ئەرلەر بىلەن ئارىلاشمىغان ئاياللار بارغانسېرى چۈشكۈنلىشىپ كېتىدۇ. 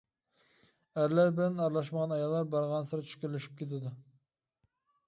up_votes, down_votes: 2, 0